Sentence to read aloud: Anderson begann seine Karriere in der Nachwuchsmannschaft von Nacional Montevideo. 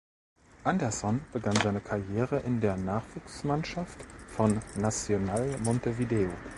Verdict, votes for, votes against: rejected, 1, 2